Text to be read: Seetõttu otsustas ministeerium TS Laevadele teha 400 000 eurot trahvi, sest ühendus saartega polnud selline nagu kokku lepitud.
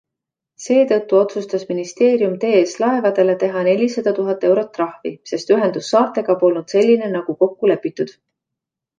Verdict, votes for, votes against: rejected, 0, 2